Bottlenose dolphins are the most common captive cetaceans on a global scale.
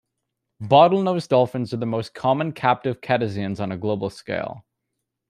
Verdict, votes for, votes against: rejected, 1, 2